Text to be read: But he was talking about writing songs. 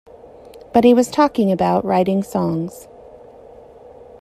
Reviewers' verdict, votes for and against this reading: accepted, 2, 0